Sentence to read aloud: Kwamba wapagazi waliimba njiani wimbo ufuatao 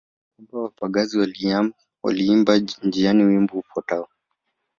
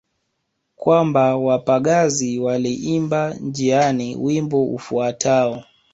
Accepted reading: second